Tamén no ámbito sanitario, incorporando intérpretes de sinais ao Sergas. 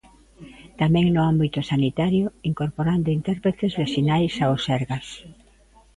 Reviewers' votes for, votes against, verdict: 2, 0, accepted